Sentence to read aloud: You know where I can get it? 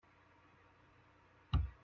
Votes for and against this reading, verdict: 0, 2, rejected